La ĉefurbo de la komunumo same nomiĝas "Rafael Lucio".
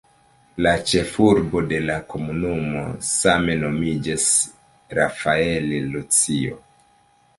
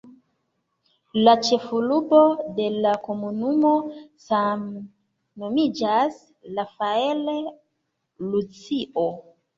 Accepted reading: second